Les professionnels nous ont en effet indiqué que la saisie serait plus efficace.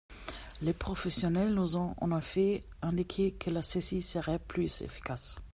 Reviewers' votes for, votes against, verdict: 2, 0, accepted